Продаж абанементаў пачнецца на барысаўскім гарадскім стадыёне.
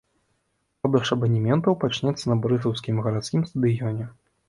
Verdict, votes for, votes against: rejected, 1, 2